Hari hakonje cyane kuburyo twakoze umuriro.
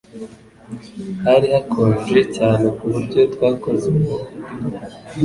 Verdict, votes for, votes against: accepted, 2, 0